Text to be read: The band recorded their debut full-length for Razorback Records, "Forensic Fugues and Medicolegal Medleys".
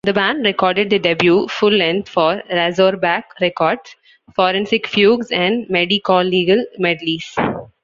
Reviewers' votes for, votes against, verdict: 2, 0, accepted